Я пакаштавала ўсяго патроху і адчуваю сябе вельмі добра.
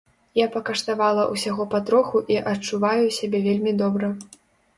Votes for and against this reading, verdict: 2, 0, accepted